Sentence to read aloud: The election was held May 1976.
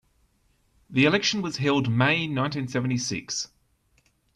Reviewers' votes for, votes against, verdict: 0, 2, rejected